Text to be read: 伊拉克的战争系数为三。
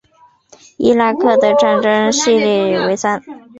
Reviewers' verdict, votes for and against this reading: rejected, 3, 4